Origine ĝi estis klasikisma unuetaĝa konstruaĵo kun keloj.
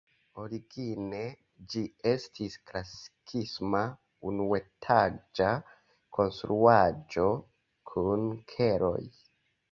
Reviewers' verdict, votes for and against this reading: rejected, 0, 2